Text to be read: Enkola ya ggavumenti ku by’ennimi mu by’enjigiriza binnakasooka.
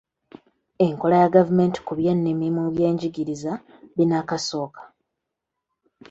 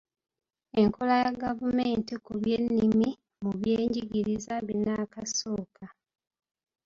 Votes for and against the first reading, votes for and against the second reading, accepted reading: 2, 1, 1, 2, first